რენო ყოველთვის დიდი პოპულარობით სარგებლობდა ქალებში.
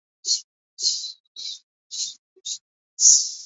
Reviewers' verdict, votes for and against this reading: rejected, 0, 2